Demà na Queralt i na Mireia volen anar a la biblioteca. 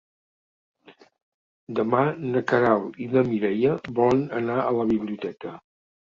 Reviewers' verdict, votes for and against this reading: accepted, 3, 0